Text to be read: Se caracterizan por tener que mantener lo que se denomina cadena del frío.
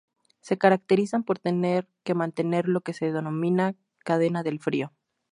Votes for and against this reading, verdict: 4, 0, accepted